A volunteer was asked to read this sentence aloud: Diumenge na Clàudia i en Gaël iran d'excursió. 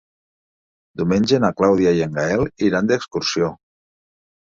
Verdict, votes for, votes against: accepted, 3, 0